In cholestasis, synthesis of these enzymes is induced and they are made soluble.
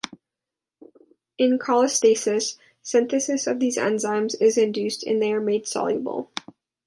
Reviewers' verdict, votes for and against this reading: accepted, 2, 0